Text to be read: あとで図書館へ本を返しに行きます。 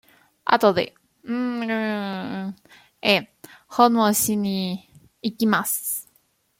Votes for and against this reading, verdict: 0, 2, rejected